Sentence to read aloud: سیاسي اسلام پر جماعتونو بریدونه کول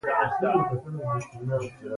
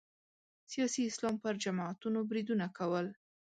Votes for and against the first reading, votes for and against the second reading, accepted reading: 1, 2, 2, 0, second